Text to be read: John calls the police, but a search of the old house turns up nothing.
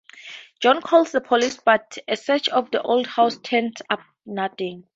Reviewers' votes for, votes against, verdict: 2, 0, accepted